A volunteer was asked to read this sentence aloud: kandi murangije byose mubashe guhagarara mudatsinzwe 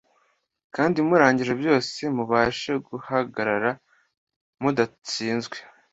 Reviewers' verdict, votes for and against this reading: accepted, 2, 0